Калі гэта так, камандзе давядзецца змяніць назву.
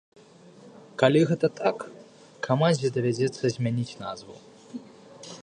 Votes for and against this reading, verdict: 2, 0, accepted